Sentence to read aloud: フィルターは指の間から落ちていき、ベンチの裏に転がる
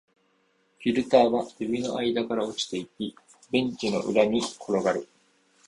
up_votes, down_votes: 2, 0